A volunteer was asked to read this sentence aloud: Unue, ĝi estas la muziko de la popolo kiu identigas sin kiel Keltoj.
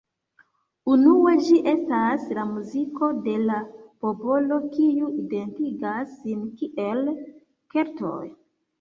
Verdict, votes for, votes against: accepted, 2, 1